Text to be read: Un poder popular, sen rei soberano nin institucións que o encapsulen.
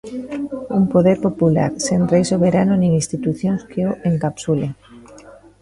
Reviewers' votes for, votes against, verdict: 1, 2, rejected